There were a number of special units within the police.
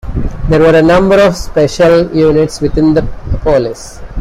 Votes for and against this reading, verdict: 2, 0, accepted